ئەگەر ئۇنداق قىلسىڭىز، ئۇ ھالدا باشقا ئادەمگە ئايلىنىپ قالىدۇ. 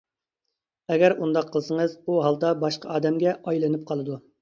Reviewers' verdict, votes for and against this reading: accepted, 2, 0